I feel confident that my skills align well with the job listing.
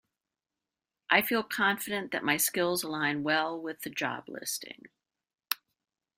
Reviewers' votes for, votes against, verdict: 2, 0, accepted